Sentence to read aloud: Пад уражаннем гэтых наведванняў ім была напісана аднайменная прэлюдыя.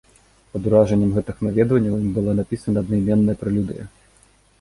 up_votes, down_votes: 2, 0